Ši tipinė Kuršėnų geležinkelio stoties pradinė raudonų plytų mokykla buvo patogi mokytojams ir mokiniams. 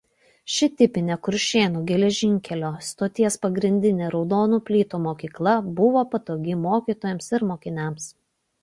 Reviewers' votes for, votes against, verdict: 0, 2, rejected